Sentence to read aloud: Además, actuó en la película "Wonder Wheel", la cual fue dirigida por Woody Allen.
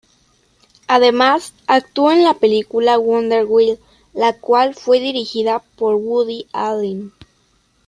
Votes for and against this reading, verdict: 2, 0, accepted